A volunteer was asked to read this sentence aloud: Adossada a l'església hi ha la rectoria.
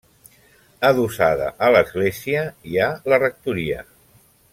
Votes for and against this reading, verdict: 3, 1, accepted